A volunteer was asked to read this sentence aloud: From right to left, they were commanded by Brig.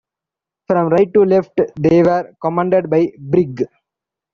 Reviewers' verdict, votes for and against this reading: accepted, 3, 0